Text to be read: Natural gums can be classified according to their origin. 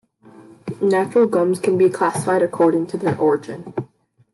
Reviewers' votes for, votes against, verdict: 0, 2, rejected